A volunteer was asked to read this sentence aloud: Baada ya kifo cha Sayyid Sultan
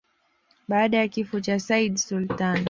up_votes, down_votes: 2, 0